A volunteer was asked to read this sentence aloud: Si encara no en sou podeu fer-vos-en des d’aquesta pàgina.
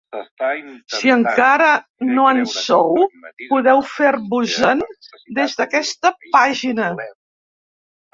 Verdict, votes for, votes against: rejected, 1, 2